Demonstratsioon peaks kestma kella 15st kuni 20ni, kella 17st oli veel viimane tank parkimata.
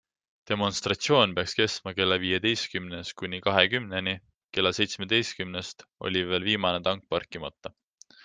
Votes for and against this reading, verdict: 0, 2, rejected